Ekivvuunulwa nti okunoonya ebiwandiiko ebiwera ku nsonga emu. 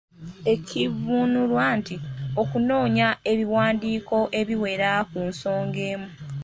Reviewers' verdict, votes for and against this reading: accepted, 2, 0